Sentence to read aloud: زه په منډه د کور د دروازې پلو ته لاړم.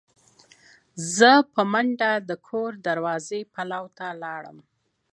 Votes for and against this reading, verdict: 0, 2, rejected